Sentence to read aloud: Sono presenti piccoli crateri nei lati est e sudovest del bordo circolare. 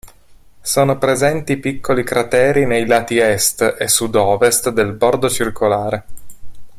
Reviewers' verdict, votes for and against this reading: accepted, 2, 0